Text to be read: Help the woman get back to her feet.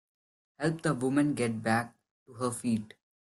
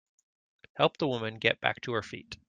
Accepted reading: second